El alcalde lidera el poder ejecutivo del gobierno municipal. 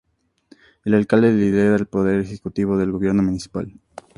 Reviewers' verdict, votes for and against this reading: accepted, 8, 0